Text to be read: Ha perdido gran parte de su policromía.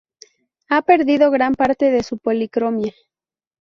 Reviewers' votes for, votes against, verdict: 0, 2, rejected